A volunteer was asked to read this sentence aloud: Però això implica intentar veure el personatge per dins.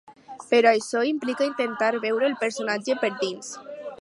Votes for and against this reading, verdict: 4, 0, accepted